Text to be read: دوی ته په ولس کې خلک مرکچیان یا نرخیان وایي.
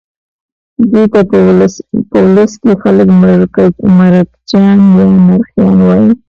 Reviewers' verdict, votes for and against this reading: rejected, 1, 2